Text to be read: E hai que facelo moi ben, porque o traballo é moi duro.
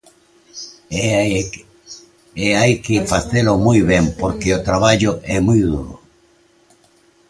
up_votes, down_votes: 0, 2